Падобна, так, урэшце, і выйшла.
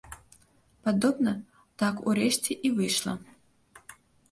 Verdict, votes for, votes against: accepted, 2, 0